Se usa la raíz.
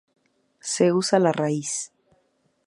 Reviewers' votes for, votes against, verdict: 2, 0, accepted